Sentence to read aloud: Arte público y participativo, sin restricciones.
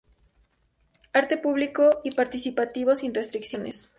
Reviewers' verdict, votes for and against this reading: accepted, 2, 0